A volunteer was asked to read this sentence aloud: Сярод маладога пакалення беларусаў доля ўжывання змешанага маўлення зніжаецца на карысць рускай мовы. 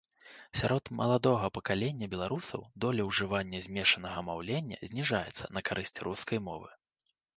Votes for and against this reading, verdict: 2, 0, accepted